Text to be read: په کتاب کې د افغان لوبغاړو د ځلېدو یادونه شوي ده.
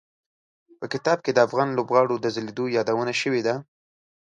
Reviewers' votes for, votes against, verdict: 2, 0, accepted